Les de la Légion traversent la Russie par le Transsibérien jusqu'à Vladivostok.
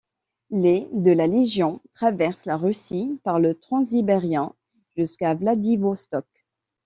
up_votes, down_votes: 1, 2